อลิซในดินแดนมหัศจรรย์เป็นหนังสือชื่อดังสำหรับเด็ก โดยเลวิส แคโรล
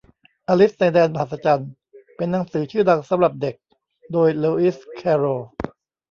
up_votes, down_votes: 1, 2